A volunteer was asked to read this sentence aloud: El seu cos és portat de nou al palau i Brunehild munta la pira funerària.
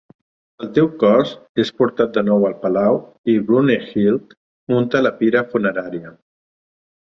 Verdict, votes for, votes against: rejected, 1, 2